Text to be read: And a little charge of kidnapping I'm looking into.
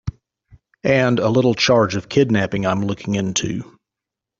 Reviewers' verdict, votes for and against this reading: accepted, 2, 0